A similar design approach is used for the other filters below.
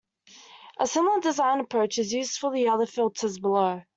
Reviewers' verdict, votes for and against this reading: accepted, 2, 1